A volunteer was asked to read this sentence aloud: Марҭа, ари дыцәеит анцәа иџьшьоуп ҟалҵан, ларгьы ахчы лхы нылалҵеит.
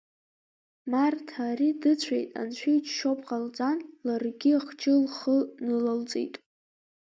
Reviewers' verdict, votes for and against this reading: rejected, 0, 2